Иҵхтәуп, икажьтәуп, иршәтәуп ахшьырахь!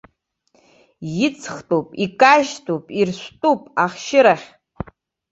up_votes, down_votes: 1, 2